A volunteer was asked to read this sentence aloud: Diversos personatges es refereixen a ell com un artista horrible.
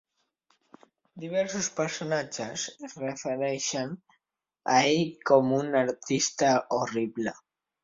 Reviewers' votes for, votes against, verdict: 3, 0, accepted